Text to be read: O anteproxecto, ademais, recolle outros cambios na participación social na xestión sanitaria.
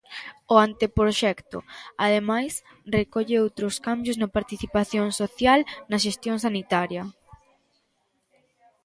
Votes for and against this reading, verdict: 2, 0, accepted